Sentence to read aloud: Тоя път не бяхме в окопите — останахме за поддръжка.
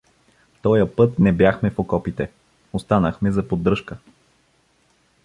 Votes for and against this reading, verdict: 2, 0, accepted